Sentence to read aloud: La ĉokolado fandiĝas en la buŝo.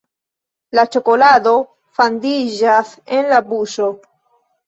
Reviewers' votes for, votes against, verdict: 2, 1, accepted